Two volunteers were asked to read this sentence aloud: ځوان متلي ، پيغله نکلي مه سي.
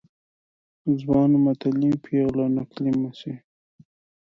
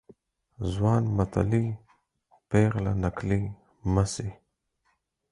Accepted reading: second